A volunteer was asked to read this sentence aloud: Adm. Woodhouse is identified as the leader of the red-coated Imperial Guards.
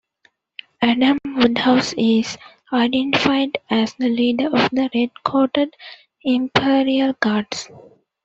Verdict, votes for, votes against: rejected, 0, 2